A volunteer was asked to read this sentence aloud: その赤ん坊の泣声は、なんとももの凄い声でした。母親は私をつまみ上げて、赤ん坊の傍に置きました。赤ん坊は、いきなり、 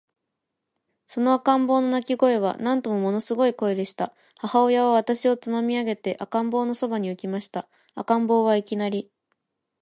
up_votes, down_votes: 4, 0